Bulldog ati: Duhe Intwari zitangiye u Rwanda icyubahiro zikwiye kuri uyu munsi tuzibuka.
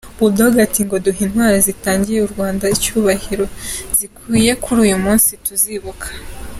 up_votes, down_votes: 2, 0